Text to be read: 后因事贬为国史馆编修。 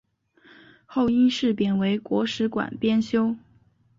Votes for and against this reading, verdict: 2, 0, accepted